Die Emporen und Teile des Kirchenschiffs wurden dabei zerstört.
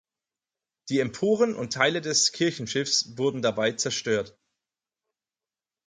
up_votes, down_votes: 4, 0